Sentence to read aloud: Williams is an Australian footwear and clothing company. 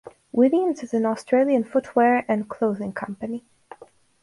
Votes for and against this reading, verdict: 4, 0, accepted